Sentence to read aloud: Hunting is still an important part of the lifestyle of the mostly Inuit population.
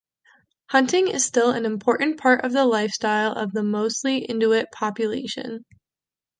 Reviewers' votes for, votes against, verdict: 2, 0, accepted